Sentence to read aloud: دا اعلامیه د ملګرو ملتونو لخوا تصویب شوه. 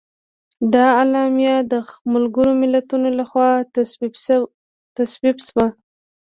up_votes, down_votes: 2, 0